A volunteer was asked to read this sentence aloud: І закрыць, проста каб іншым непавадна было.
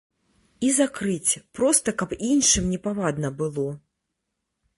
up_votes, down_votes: 2, 0